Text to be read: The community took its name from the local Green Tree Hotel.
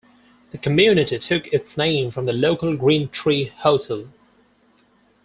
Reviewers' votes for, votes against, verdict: 4, 0, accepted